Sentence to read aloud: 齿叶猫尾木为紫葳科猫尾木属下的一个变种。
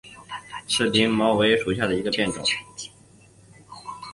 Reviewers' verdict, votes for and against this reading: rejected, 0, 2